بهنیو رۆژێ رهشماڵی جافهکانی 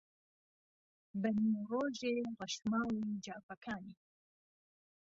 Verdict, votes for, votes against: accepted, 2, 1